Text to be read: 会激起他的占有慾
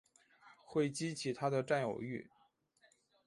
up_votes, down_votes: 5, 0